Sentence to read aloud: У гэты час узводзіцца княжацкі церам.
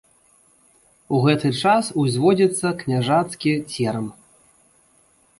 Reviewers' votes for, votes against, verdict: 1, 2, rejected